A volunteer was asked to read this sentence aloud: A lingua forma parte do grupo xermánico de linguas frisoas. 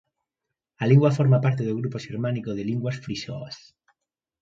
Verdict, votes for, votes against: accepted, 2, 1